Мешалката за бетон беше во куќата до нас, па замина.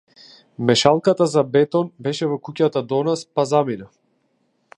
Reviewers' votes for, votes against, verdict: 2, 0, accepted